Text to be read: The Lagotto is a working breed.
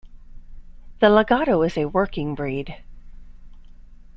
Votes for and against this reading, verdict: 2, 0, accepted